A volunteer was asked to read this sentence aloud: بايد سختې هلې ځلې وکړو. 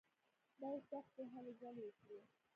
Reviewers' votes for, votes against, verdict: 1, 2, rejected